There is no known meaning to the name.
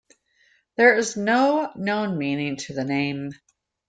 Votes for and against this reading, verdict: 2, 0, accepted